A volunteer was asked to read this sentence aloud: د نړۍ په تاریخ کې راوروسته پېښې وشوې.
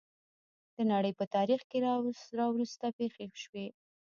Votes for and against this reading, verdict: 2, 1, accepted